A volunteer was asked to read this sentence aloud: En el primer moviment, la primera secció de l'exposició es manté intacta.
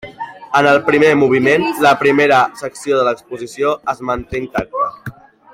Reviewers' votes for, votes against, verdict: 0, 2, rejected